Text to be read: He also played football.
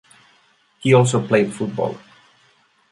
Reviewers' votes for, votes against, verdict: 2, 0, accepted